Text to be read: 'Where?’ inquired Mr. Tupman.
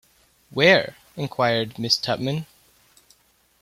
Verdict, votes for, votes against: rejected, 0, 2